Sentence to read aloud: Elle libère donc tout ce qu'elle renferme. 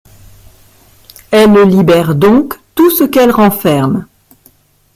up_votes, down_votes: 1, 2